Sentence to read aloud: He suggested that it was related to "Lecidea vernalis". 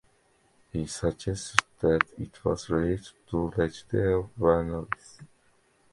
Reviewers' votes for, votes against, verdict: 2, 1, accepted